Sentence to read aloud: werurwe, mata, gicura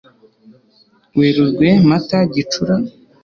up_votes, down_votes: 2, 0